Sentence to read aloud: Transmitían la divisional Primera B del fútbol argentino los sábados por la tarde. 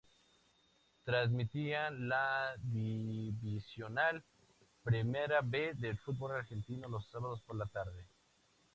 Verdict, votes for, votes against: accepted, 4, 0